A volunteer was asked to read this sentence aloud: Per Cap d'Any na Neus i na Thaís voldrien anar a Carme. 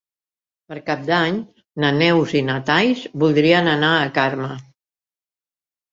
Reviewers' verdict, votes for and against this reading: rejected, 0, 2